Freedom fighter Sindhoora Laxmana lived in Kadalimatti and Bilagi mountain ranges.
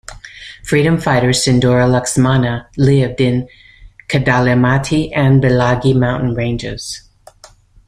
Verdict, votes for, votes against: accepted, 2, 0